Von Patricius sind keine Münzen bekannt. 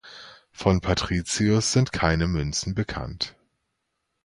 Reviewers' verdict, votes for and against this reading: accepted, 2, 0